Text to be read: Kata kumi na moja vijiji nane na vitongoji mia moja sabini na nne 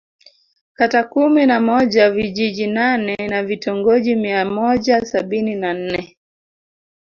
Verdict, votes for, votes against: accepted, 2, 1